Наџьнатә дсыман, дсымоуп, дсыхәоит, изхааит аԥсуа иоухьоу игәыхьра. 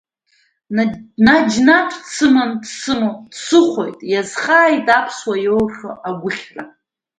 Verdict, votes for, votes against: rejected, 0, 2